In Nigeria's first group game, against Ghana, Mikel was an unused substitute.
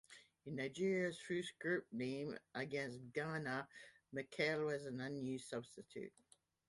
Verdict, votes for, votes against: accepted, 2, 0